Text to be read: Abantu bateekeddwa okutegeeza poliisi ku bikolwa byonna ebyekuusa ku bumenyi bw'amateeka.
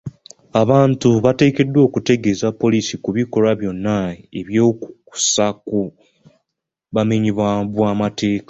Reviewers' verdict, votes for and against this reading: rejected, 0, 2